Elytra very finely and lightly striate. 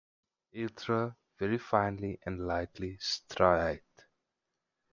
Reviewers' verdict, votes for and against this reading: rejected, 0, 2